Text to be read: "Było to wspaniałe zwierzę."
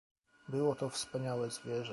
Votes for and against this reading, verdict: 0, 2, rejected